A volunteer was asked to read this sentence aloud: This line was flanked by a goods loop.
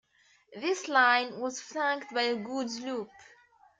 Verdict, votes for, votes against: accepted, 2, 0